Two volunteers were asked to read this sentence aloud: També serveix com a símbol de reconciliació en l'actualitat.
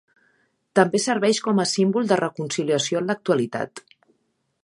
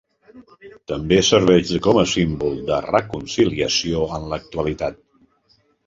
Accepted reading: first